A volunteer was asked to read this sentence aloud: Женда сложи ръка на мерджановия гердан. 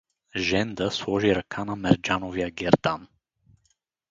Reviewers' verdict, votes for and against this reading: accepted, 4, 0